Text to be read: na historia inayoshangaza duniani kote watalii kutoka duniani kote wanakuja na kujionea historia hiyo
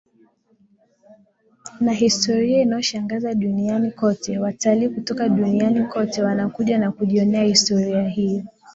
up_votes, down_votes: 1, 2